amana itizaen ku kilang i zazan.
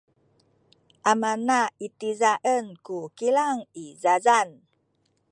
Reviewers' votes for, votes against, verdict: 2, 1, accepted